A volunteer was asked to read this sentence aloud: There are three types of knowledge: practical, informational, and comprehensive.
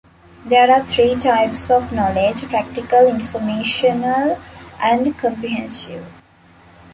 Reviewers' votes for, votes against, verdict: 1, 2, rejected